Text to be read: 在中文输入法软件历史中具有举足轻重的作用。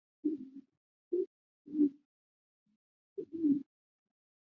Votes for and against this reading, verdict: 1, 3, rejected